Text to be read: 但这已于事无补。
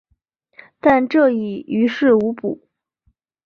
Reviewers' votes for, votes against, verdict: 2, 0, accepted